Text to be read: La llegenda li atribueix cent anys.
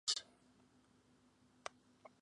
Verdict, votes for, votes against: rejected, 0, 2